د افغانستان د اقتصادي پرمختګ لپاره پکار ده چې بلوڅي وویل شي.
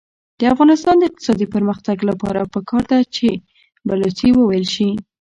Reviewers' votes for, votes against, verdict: 1, 2, rejected